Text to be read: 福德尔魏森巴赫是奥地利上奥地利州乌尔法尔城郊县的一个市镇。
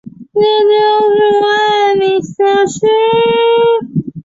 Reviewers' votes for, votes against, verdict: 0, 2, rejected